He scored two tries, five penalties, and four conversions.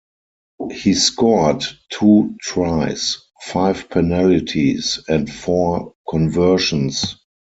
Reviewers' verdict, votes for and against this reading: rejected, 0, 4